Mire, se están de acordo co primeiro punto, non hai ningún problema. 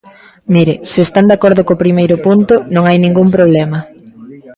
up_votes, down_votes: 2, 0